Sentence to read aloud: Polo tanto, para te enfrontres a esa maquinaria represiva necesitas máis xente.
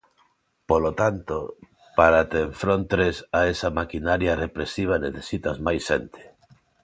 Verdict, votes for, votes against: accepted, 2, 0